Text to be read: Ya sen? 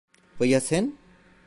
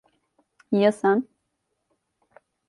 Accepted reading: second